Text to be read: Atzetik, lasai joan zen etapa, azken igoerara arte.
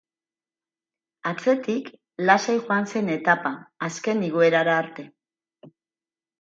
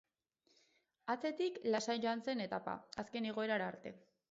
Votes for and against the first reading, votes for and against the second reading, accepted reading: 4, 0, 0, 2, first